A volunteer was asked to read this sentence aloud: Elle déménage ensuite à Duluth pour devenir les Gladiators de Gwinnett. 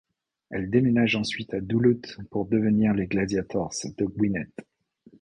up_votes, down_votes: 2, 0